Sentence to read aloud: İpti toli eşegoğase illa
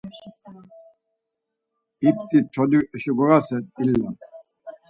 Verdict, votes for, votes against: rejected, 2, 4